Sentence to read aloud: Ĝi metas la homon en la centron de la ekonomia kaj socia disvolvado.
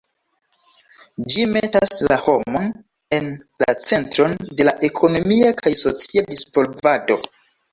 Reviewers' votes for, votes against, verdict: 0, 2, rejected